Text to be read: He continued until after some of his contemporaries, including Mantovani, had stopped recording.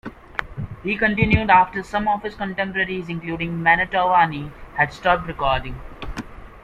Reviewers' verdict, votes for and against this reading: rejected, 0, 2